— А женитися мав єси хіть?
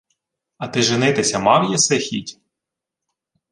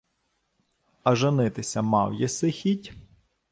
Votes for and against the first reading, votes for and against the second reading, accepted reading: 0, 2, 2, 0, second